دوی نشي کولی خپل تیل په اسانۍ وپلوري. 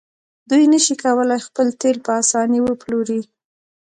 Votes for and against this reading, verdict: 1, 2, rejected